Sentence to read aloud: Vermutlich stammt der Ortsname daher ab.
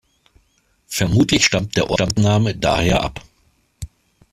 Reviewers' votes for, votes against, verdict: 1, 2, rejected